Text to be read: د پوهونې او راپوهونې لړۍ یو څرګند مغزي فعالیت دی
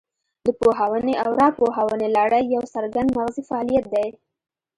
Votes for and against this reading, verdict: 2, 0, accepted